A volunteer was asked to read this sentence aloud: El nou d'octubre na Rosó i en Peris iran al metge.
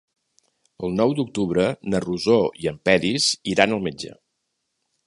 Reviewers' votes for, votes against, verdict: 2, 0, accepted